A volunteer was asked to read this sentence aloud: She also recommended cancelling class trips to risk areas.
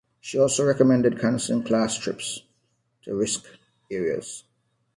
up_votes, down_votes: 2, 0